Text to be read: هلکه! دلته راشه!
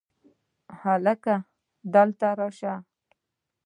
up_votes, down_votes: 2, 0